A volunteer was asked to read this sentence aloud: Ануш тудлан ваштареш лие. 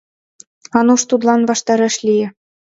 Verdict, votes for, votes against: accepted, 2, 0